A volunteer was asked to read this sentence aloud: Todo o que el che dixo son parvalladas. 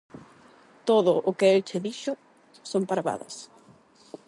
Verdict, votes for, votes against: rejected, 0, 8